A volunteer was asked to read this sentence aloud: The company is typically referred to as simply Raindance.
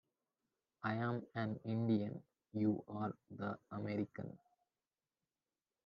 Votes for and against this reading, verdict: 0, 2, rejected